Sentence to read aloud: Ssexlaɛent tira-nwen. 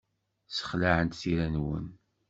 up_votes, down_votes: 2, 0